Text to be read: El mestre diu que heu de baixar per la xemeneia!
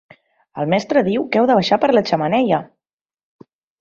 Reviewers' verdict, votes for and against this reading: accepted, 2, 0